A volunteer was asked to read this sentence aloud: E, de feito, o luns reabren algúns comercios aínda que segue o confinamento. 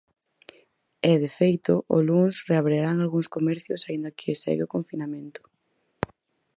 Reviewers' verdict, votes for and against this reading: rejected, 0, 4